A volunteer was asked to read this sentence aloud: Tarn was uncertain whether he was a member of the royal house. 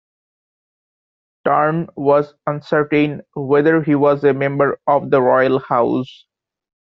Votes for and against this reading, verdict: 2, 1, accepted